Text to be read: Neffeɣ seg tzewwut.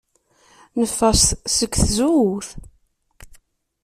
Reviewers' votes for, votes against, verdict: 2, 1, accepted